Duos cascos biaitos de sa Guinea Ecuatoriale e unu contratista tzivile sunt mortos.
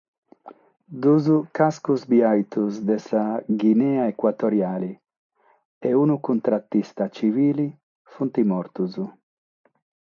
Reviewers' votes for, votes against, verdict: 6, 0, accepted